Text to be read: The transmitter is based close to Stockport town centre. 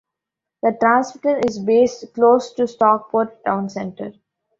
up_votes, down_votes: 0, 2